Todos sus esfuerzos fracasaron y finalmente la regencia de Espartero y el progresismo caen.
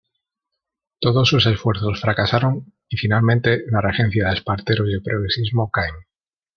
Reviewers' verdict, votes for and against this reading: rejected, 0, 2